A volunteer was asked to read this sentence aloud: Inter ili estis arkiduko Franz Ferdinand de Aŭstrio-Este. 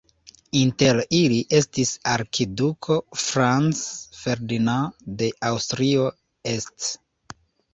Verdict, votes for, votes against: rejected, 1, 2